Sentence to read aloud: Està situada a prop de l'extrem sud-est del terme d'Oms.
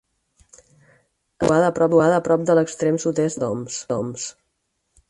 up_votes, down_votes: 0, 4